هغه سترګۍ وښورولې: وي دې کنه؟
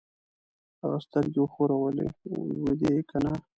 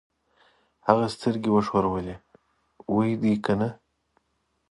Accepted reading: second